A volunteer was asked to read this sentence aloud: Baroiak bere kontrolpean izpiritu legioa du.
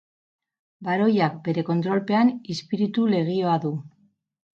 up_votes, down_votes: 0, 2